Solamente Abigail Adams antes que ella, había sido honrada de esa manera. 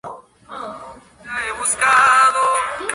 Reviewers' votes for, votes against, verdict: 0, 2, rejected